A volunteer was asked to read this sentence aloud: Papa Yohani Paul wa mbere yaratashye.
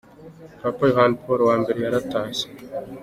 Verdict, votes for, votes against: accepted, 2, 1